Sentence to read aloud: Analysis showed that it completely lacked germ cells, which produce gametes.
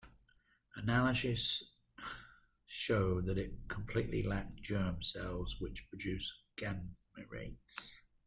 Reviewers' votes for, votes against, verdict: 0, 2, rejected